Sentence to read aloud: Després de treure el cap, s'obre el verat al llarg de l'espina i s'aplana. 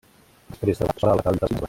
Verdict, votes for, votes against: rejected, 0, 2